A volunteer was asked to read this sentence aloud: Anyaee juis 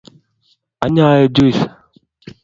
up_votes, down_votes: 2, 0